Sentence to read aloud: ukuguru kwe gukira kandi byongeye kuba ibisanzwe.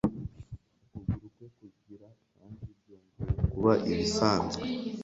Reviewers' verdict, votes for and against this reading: rejected, 0, 2